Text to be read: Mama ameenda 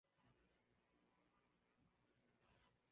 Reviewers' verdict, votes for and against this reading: rejected, 0, 2